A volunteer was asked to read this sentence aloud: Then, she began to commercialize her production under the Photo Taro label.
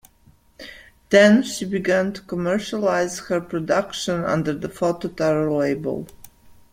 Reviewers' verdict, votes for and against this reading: accepted, 2, 0